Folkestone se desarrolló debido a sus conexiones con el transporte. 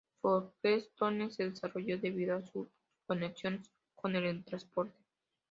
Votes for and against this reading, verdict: 0, 2, rejected